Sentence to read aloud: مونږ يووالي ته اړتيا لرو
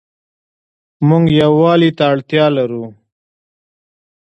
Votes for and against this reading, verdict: 2, 0, accepted